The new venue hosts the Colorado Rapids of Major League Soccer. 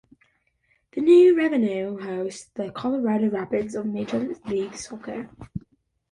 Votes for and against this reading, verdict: 2, 0, accepted